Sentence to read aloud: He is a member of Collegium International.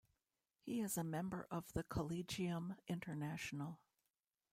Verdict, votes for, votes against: rejected, 0, 2